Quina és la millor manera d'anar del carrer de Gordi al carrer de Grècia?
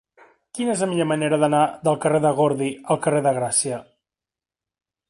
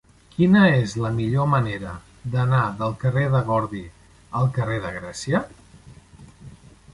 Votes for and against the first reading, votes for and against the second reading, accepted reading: 0, 2, 3, 0, second